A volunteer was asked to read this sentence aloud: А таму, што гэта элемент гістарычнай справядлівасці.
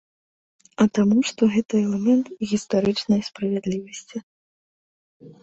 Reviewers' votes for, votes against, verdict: 0, 2, rejected